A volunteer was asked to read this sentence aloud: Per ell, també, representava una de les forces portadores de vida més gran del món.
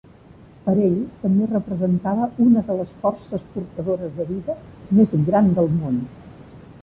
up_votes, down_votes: 4, 1